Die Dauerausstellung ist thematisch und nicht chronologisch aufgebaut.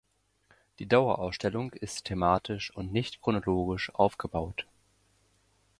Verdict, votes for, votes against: accepted, 2, 0